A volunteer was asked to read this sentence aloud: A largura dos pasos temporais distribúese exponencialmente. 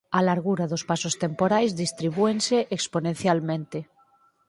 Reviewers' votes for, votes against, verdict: 2, 4, rejected